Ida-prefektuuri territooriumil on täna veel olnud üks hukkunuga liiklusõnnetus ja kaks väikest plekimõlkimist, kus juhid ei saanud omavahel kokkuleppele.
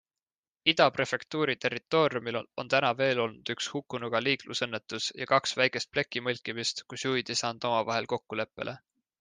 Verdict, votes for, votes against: accepted, 2, 1